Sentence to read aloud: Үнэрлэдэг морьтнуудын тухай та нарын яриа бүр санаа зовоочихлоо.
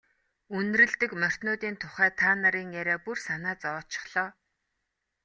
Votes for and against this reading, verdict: 2, 0, accepted